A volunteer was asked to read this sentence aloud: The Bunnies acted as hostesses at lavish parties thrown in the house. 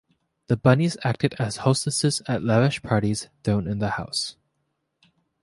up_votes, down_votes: 2, 0